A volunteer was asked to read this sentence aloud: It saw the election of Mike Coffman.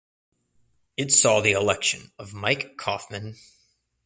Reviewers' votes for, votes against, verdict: 2, 0, accepted